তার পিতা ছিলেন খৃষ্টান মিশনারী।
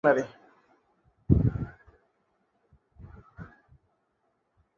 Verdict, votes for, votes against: rejected, 0, 3